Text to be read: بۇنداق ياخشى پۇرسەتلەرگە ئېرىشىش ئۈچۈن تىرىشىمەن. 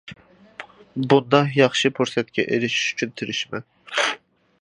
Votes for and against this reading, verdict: 0, 2, rejected